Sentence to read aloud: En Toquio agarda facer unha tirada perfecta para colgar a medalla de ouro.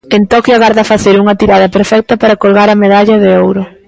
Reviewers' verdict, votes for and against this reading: accepted, 2, 0